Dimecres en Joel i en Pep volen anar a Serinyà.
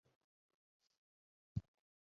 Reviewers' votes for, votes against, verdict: 0, 4, rejected